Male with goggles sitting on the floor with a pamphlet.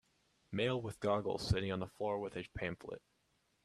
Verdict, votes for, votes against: accepted, 2, 0